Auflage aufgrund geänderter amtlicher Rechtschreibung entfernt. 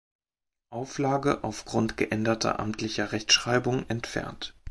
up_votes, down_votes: 3, 0